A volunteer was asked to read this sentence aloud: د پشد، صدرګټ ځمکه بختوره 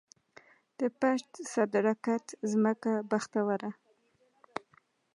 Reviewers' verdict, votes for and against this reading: accepted, 2, 0